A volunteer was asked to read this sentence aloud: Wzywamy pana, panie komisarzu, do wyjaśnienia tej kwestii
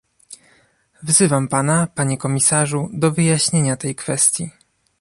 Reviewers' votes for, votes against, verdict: 0, 2, rejected